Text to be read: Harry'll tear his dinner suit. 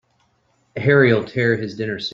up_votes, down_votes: 0, 2